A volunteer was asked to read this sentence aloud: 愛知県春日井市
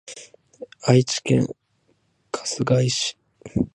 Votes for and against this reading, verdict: 2, 1, accepted